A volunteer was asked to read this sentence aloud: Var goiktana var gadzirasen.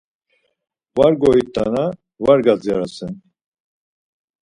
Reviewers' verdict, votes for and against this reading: accepted, 4, 0